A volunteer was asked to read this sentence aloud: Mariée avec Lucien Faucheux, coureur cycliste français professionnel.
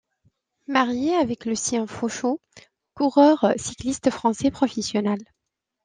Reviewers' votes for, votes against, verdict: 2, 1, accepted